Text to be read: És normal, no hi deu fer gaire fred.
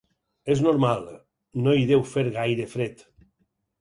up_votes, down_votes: 6, 0